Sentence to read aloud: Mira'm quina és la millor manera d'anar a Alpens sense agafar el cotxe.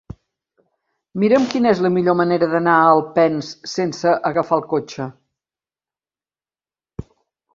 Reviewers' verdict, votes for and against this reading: accepted, 3, 0